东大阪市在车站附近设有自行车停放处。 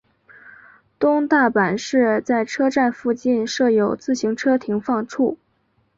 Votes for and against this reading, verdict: 4, 0, accepted